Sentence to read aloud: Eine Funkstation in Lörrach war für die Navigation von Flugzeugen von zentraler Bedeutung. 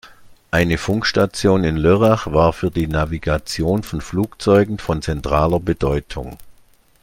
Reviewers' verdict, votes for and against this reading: accepted, 2, 0